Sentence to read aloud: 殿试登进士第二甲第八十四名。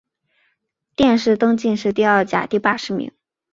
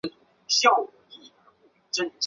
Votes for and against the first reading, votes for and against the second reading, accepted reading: 2, 1, 0, 4, first